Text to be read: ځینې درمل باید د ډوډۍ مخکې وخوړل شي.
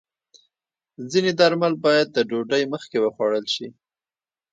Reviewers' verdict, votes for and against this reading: accepted, 2, 0